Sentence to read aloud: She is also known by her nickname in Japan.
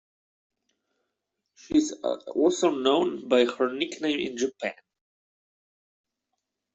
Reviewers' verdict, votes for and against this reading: accepted, 2, 0